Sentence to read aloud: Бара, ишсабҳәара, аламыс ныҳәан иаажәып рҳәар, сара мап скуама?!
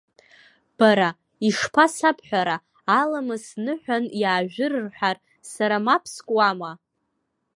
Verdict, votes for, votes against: rejected, 0, 2